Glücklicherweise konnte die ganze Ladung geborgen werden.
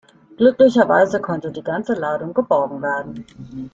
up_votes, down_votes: 2, 0